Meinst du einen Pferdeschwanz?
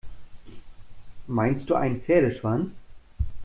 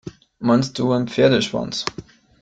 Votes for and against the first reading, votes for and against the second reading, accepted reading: 2, 0, 1, 2, first